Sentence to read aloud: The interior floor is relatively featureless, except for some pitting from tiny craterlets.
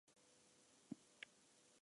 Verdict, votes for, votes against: rejected, 0, 2